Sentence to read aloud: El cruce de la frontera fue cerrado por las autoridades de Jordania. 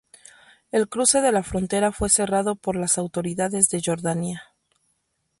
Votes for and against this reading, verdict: 0, 2, rejected